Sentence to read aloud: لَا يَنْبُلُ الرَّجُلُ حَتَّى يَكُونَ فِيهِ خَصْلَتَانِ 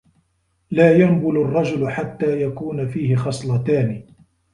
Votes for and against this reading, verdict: 2, 0, accepted